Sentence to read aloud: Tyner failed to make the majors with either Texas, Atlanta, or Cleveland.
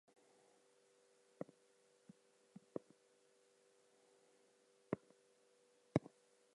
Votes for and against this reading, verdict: 0, 4, rejected